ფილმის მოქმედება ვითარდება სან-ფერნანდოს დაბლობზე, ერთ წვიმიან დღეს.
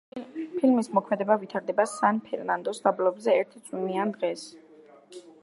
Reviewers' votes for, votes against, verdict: 2, 1, accepted